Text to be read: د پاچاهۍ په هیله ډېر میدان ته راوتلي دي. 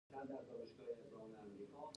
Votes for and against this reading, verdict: 0, 2, rejected